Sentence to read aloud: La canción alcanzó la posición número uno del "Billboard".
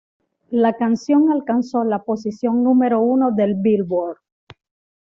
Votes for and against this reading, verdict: 2, 0, accepted